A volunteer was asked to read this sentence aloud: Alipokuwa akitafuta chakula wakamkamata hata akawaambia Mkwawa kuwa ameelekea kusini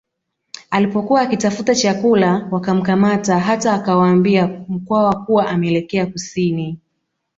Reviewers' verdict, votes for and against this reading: rejected, 0, 2